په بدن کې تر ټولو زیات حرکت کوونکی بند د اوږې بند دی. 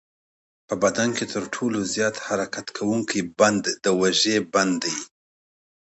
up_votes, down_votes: 2, 0